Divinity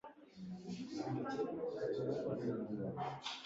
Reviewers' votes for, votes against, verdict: 1, 2, rejected